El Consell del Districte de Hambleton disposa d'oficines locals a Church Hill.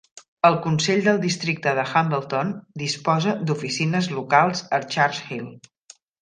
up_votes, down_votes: 2, 0